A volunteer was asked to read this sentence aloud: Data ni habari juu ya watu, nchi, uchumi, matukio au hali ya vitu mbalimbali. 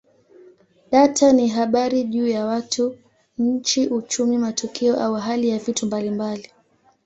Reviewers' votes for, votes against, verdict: 2, 0, accepted